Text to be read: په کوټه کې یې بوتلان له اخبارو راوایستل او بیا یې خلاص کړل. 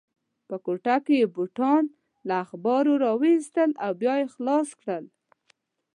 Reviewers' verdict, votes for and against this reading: rejected, 1, 2